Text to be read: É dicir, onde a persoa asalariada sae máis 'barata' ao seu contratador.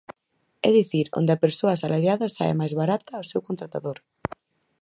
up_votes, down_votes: 4, 0